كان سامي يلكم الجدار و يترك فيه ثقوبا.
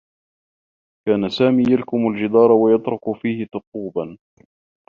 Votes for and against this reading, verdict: 0, 2, rejected